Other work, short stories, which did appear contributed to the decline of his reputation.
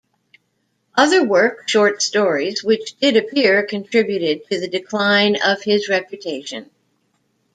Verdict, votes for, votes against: accepted, 2, 0